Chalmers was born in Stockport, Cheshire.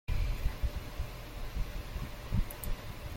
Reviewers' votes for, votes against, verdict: 0, 2, rejected